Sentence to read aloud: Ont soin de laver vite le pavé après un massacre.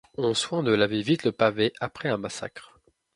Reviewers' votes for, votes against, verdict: 2, 0, accepted